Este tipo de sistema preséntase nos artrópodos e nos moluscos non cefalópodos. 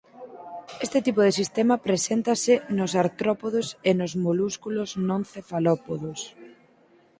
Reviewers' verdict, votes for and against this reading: rejected, 2, 4